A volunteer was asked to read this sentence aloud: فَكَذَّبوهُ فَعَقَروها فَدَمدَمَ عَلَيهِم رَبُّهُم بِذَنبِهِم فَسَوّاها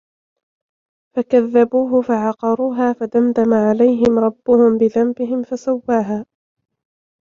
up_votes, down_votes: 2, 0